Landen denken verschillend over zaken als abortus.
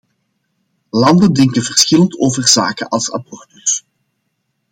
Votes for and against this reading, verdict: 2, 0, accepted